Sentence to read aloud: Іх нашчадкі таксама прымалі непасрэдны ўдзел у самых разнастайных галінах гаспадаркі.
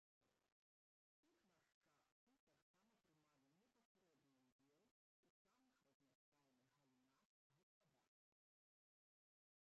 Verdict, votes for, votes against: rejected, 0, 3